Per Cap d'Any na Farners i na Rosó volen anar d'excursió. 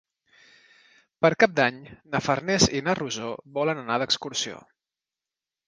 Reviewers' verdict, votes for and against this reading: accepted, 2, 1